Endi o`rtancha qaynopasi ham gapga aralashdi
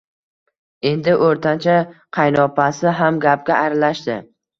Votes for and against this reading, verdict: 1, 2, rejected